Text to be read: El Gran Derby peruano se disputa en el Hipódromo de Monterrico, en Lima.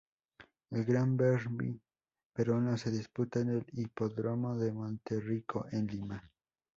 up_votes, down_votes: 0, 2